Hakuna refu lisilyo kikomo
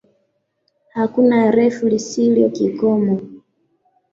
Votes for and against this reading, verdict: 2, 1, accepted